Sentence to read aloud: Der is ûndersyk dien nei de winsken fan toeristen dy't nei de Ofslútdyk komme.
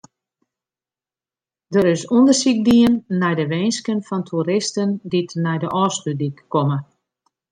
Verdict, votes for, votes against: accepted, 2, 0